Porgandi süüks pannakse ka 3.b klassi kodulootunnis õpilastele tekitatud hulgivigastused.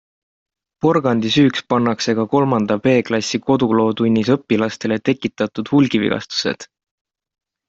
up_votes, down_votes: 0, 2